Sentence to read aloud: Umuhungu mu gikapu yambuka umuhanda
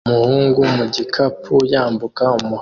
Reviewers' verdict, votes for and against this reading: rejected, 1, 2